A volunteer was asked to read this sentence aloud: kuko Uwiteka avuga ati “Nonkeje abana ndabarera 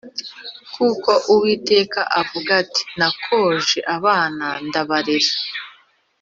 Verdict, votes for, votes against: rejected, 1, 2